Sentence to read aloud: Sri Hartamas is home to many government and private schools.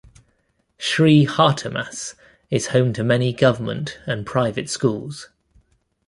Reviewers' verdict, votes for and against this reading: accepted, 2, 0